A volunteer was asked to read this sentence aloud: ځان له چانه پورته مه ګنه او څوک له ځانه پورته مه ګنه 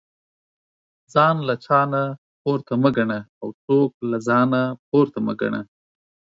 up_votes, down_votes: 4, 0